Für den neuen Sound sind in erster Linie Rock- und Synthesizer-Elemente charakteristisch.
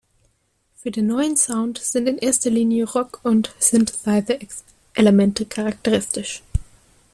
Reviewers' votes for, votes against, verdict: 0, 2, rejected